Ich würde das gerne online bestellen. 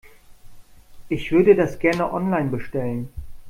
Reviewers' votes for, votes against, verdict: 2, 0, accepted